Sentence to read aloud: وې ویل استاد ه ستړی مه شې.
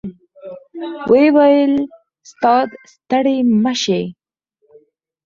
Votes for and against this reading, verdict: 2, 4, rejected